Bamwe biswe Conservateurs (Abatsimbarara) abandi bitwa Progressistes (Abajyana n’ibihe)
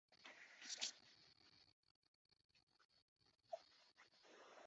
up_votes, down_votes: 0, 2